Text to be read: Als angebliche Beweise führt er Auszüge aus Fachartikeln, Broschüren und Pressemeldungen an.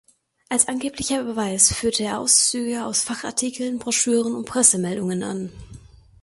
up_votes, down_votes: 0, 2